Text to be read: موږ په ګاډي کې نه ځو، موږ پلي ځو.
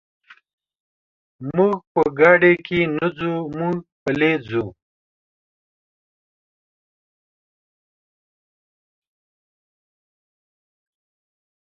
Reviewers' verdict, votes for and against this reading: accepted, 2, 1